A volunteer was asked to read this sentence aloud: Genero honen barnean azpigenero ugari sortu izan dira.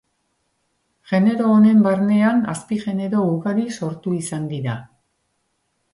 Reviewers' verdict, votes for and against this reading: accepted, 2, 0